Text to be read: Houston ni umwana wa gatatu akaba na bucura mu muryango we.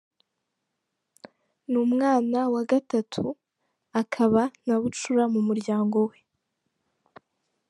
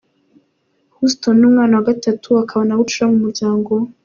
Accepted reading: second